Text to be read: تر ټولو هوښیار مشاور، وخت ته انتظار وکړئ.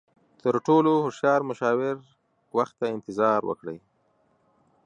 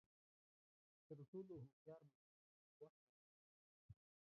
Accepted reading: first